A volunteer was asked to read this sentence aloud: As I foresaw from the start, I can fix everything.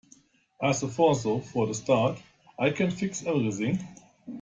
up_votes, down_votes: 1, 2